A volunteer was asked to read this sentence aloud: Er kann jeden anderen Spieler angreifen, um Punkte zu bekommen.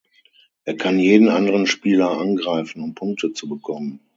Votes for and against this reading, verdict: 6, 0, accepted